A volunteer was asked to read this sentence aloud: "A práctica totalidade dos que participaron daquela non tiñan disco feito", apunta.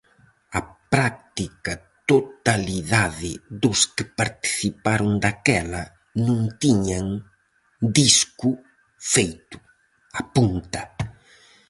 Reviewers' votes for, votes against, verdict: 2, 2, rejected